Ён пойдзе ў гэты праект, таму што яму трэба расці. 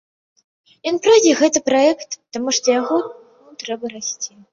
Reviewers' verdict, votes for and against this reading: rejected, 0, 2